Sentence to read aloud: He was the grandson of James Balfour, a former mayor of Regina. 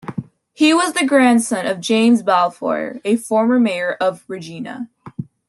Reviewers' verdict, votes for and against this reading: accepted, 2, 0